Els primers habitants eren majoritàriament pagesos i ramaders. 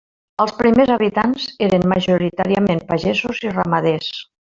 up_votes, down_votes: 0, 2